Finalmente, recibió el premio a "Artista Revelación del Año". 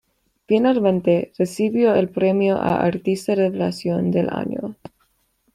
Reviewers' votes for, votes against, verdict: 1, 2, rejected